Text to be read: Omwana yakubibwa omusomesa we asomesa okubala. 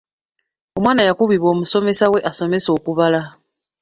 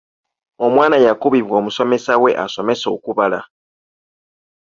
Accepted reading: second